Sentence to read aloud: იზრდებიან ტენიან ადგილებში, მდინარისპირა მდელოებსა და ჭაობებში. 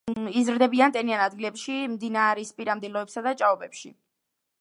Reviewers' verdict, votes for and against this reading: accepted, 2, 0